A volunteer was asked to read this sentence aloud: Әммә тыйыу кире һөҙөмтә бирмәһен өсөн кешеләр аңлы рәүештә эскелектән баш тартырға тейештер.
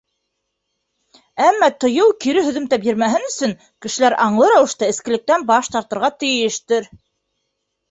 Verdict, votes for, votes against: accepted, 2, 0